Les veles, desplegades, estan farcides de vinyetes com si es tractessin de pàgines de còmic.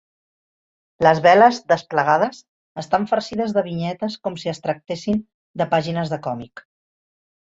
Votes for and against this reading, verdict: 3, 0, accepted